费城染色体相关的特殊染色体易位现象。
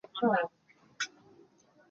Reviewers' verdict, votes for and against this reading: rejected, 0, 3